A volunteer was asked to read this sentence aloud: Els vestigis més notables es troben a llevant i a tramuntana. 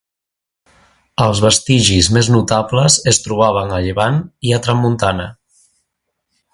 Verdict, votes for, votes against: rejected, 0, 2